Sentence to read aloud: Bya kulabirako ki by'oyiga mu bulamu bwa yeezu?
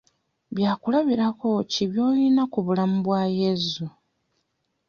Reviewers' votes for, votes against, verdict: 0, 2, rejected